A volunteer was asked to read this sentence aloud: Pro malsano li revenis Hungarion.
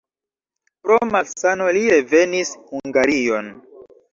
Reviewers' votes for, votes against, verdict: 2, 0, accepted